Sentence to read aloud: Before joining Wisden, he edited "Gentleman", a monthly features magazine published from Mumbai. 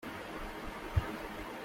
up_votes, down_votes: 0, 2